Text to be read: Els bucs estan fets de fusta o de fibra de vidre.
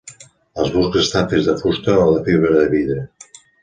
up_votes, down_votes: 2, 0